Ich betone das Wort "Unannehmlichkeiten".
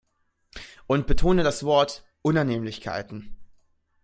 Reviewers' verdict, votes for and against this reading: rejected, 0, 2